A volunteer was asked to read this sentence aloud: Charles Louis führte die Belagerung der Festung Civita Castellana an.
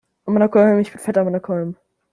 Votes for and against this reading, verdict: 0, 2, rejected